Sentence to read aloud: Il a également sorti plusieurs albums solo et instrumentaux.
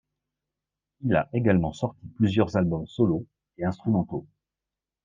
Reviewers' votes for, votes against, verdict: 2, 0, accepted